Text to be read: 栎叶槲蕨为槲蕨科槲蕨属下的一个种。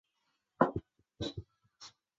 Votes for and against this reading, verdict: 0, 2, rejected